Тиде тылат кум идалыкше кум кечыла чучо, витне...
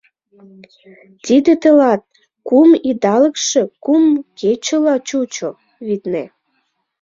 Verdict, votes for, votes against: accepted, 2, 0